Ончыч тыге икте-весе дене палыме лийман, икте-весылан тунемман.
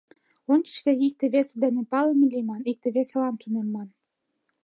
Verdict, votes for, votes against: accepted, 2, 1